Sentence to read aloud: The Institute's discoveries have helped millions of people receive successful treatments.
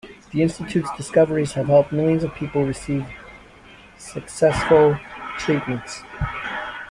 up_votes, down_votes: 2, 0